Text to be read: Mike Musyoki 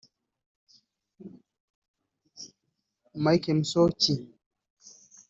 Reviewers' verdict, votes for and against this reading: rejected, 0, 2